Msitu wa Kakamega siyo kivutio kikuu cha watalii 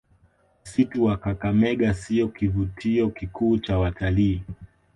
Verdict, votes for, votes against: rejected, 1, 2